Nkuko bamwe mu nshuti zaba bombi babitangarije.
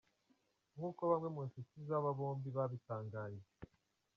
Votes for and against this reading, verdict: 1, 2, rejected